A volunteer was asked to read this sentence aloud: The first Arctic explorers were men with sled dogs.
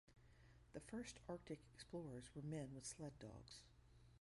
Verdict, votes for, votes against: rejected, 2, 4